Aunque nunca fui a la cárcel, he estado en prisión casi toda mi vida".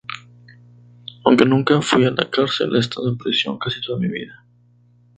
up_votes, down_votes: 0, 2